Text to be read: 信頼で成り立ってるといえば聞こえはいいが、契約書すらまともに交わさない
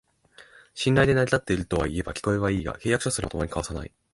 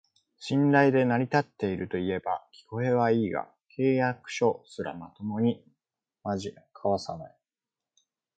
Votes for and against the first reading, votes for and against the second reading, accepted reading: 2, 1, 1, 4, first